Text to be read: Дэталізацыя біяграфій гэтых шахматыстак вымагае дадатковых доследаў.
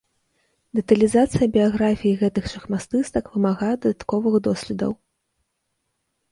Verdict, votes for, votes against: rejected, 1, 2